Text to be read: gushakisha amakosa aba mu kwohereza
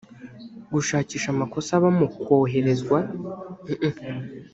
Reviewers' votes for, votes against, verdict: 0, 2, rejected